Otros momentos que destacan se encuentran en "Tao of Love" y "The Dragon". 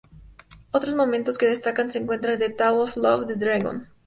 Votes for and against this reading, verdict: 0, 2, rejected